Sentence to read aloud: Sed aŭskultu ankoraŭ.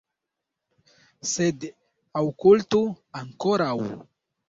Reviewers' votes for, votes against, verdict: 1, 2, rejected